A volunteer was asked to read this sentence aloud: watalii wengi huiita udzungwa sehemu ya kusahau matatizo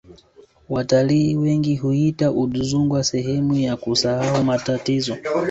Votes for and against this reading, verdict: 3, 0, accepted